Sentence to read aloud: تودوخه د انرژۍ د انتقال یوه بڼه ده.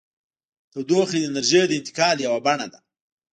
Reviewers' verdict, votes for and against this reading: rejected, 1, 2